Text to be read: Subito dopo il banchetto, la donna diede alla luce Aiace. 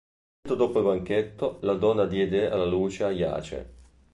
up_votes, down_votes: 1, 2